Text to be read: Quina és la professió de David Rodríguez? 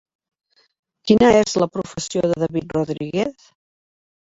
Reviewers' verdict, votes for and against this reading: accepted, 5, 2